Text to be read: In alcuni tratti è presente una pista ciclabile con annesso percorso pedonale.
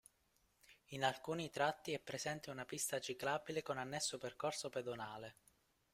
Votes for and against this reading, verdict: 2, 1, accepted